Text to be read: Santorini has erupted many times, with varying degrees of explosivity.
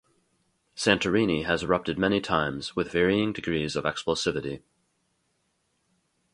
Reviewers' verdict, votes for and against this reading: accepted, 2, 0